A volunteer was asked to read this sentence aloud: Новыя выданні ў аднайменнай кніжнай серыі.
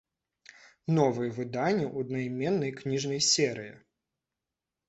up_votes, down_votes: 2, 0